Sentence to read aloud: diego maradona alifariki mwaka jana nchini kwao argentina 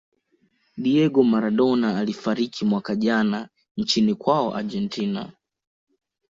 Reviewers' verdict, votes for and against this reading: accepted, 3, 0